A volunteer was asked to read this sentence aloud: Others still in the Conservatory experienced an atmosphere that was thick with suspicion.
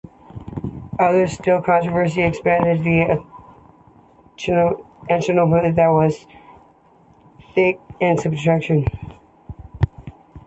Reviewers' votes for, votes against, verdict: 0, 2, rejected